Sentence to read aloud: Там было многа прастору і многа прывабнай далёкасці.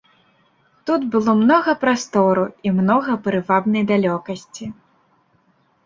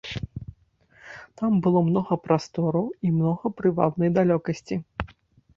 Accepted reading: second